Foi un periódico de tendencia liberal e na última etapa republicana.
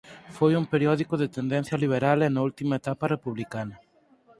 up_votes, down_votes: 4, 0